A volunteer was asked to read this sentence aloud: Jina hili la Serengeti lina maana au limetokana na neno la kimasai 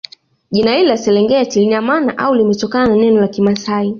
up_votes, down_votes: 2, 0